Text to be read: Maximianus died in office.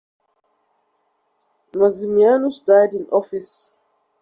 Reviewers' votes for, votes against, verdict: 2, 0, accepted